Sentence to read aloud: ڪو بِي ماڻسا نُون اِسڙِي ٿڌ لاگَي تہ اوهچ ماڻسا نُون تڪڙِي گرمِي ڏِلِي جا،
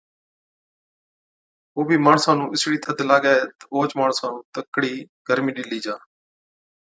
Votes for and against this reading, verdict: 2, 0, accepted